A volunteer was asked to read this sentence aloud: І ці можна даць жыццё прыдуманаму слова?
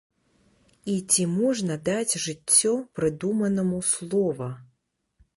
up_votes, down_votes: 1, 2